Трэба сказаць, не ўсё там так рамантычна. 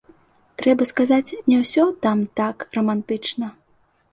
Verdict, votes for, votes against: accepted, 2, 0